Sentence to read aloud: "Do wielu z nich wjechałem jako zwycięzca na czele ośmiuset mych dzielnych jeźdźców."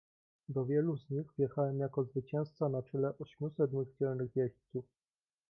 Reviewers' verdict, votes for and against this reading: rejected, 1, 2